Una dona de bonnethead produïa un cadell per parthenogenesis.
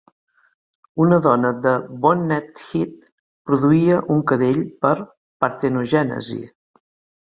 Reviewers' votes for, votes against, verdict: 3, 0, accepted